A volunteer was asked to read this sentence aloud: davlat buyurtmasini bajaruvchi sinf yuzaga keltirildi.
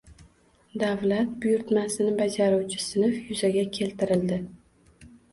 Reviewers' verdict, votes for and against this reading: rejected, 1, 2